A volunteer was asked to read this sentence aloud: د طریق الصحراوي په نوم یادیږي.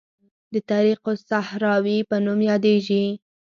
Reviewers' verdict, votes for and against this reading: accepted, 6, 2